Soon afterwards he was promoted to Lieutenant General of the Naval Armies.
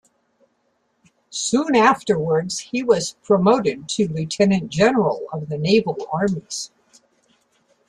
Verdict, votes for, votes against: accepted, 2, 1